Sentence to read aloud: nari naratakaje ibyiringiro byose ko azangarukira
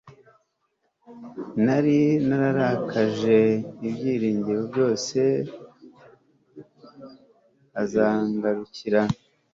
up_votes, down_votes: 0, 2